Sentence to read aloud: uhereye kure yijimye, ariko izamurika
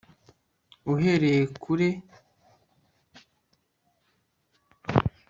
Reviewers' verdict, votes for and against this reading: rejected, 1, 2